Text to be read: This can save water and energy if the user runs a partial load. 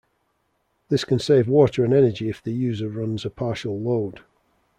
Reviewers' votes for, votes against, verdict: 2, 0, accepted